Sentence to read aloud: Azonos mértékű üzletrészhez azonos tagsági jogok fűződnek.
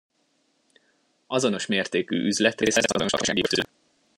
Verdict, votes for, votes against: rejected, 1, 2